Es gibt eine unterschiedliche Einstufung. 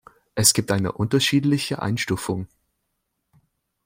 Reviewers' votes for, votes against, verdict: 2, 0, accepted